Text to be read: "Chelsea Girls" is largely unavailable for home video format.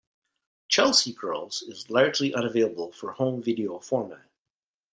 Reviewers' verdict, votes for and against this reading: accepted, 2, 0